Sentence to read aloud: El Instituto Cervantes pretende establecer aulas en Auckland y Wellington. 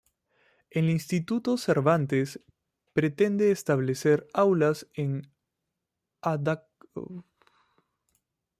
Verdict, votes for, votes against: rejected, 0, 2